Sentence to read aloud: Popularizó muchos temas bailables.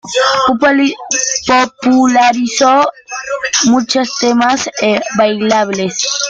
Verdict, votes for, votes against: rejected, 1, 2